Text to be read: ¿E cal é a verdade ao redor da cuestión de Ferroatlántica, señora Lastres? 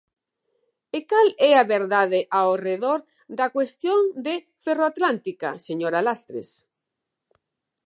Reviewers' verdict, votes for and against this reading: accepted, 2, 1